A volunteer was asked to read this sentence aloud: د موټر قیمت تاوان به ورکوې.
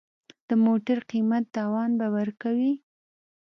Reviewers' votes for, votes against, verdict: 2, 0, accepted